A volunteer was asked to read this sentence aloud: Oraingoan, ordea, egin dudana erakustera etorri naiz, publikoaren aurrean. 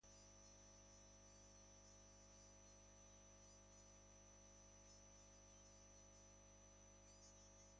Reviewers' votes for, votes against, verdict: 0, 4, rejected